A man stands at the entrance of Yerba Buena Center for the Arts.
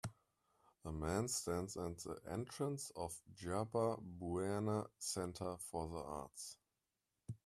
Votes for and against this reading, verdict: 0, 2, rejected